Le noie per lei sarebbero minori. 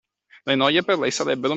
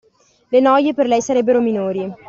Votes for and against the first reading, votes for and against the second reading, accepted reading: 0, 2, 2, 0, second